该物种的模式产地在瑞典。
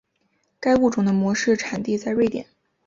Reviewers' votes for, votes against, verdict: 3, 0, accepted